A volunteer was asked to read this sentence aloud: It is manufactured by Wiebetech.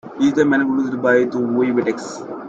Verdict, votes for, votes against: rejected, 0, 2